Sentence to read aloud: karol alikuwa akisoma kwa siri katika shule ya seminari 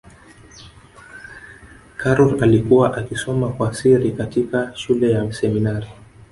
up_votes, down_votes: 1, 2